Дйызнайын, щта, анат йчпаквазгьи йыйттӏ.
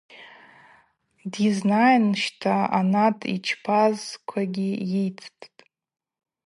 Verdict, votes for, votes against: rejected, 0, 2